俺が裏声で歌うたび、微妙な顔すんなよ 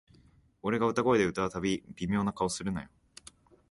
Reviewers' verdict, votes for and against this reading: rejected, 2, 3